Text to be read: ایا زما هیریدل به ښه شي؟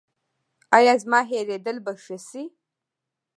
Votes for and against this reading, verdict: 2, 0, accepted